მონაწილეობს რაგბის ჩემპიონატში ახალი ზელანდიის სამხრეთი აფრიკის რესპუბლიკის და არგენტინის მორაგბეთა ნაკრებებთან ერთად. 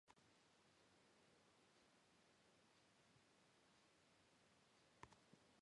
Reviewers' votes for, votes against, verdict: 0, 2, rejected